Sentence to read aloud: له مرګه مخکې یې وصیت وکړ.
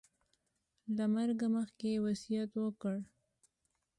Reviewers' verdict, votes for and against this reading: accepted, 2, 0